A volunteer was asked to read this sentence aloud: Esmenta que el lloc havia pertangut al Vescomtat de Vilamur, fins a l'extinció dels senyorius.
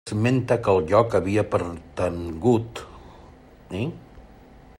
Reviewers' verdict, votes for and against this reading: rejected, 0, 2